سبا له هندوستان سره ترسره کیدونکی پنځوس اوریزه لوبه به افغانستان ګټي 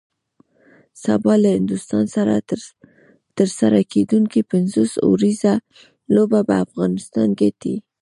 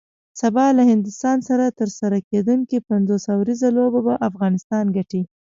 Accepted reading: second